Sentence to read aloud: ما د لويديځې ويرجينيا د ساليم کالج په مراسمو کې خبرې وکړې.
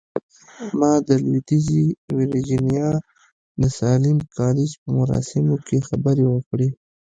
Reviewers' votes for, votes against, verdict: 3, 0, accepted